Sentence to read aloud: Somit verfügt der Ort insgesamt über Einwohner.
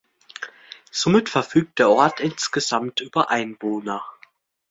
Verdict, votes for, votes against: accepted, 2, 0